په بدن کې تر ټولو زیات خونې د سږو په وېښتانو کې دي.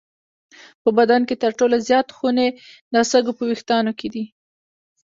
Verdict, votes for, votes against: accepted, 2, 0